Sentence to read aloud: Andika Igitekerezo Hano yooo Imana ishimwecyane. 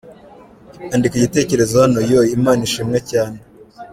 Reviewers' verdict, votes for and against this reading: accepted, 2, 1